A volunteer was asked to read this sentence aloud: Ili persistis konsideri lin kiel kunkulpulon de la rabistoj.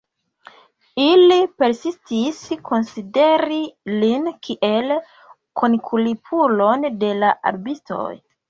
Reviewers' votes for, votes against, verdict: 2, 1, accepted